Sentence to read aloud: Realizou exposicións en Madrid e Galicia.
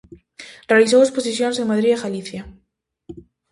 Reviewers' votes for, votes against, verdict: 2, 0, accepted